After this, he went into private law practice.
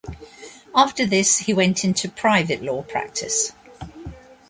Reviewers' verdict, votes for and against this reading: accepted, 2, 1